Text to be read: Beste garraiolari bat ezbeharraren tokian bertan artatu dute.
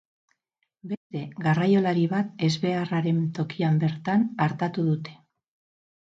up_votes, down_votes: 0, 4